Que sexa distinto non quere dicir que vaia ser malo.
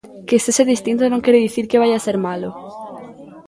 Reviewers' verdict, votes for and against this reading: accepted, 2, 0